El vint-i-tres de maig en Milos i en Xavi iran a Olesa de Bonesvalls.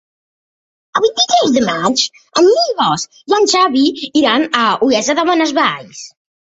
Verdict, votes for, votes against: rejected, 1, 2